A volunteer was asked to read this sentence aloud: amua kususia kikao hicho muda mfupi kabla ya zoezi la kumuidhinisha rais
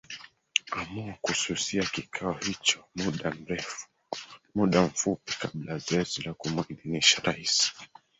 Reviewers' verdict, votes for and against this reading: rejected, 0, 3